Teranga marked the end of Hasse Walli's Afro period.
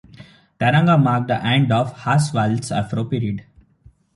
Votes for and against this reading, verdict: 1, 2, rejected